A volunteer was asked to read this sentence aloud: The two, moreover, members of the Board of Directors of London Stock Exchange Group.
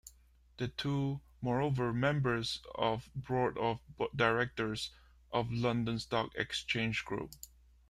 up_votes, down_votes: 2, 0